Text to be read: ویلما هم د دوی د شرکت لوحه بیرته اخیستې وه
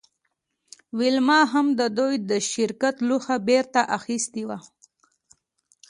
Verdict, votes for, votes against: rejected, 1, 2